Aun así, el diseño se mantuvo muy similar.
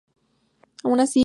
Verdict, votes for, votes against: accepted, 2, 0